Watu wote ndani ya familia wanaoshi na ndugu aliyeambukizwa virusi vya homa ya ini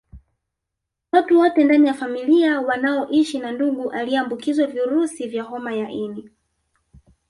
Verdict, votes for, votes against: rejected, 1, 2